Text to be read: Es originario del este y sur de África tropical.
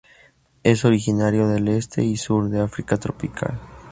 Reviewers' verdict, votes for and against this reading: rejected, 0, 2